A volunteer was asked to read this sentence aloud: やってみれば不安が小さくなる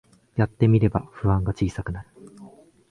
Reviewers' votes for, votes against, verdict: 2, 0, accepted